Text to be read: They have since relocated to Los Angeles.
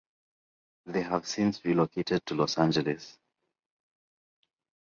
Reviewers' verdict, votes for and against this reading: accepted, 2, 0